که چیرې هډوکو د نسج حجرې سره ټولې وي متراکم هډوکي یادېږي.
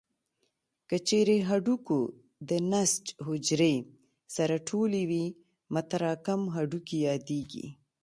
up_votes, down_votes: 2, 0